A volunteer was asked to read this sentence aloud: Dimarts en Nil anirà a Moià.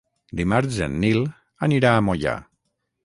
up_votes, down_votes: 6, 0